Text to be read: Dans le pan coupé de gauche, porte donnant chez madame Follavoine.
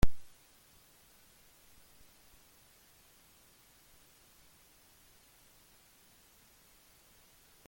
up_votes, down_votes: 0, 2